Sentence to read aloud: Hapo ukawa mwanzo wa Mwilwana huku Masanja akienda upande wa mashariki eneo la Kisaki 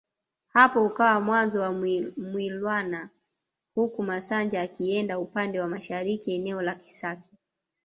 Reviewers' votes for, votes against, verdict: 1, 2, rejected